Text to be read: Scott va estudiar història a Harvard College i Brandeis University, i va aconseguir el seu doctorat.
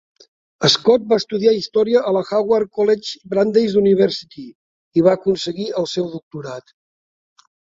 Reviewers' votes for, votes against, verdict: 0, 2, rejected